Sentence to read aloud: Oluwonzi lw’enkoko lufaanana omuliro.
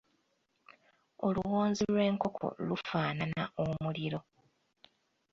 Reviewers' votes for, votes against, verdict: 2, 1, accepted